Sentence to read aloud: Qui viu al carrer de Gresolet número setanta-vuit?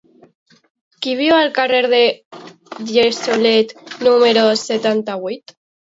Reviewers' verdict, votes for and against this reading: rejected, 0, 2